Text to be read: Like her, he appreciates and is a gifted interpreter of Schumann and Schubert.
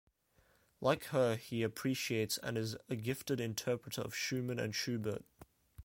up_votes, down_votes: 2, 0